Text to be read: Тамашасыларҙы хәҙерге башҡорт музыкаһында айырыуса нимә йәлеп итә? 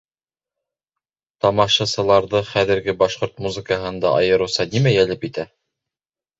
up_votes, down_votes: 1, 2